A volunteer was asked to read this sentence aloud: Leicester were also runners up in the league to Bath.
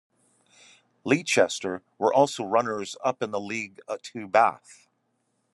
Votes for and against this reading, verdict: 1, 2, rejected